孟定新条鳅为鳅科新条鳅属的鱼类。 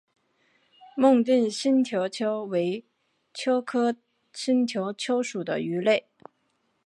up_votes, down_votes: 0, 3